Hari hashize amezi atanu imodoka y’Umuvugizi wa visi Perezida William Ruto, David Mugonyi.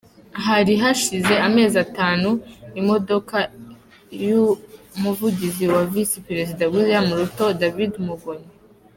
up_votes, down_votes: 2, 0